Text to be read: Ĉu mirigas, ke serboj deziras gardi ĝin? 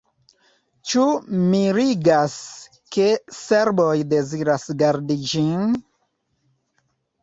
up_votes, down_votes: 1, 2